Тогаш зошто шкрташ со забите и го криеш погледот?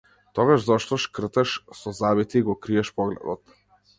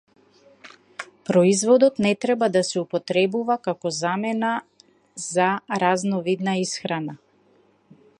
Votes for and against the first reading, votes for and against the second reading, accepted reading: 2, 0, 0, 2, first